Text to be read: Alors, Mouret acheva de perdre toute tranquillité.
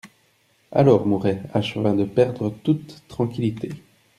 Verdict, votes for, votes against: accepted, 2, 0